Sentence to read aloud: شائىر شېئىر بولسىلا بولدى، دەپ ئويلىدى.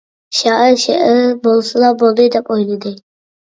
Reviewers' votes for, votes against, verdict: 2, 1, accepted